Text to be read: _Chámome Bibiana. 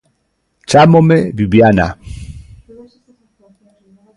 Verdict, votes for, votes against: rejected, 0, 2